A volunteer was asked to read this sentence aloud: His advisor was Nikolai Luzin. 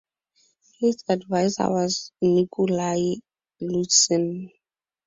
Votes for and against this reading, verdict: 4, 0, accepted